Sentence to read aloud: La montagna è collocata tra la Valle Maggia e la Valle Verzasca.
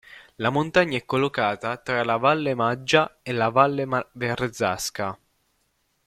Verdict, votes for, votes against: rejected, 0, 2